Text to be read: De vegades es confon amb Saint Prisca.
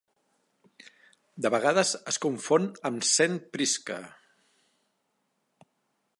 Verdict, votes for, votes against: accepted, 2, 0